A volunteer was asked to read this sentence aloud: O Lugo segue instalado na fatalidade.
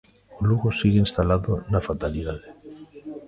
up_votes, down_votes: 0, 2